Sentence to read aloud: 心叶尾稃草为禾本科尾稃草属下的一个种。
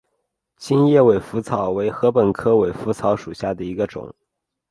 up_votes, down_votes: 2, 0